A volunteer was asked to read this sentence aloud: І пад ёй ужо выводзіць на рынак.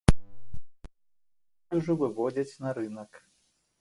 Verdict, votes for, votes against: rejected, 0, 2